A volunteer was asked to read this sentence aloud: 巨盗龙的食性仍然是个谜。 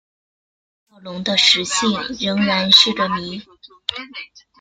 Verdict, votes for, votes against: rejected, 0, 2